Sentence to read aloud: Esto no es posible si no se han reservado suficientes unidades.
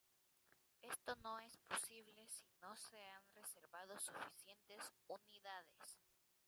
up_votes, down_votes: 1, 2